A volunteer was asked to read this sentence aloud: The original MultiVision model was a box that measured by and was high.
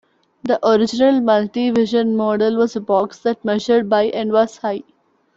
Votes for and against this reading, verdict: 0, 2, rejected